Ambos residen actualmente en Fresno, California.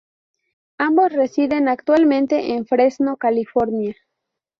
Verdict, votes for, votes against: accepted, 2, 0